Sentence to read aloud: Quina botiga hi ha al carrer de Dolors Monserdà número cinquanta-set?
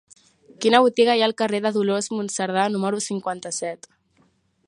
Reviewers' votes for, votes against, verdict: 1, 2, rejected